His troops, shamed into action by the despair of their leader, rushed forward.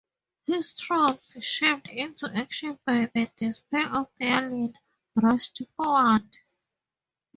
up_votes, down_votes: 0, 2